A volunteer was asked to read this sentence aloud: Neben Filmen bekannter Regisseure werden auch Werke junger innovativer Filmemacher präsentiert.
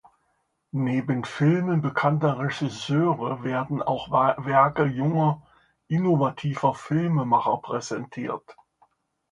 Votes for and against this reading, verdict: 0, 2, rejected